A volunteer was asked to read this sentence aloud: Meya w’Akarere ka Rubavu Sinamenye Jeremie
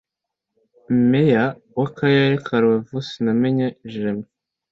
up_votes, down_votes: 2, 0